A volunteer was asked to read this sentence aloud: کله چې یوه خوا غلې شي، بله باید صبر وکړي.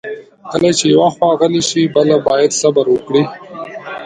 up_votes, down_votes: 0, 2